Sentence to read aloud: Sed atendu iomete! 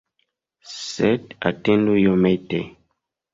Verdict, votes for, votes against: accepted, 2, 1